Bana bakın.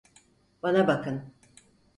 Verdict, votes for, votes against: accepted, 4, 0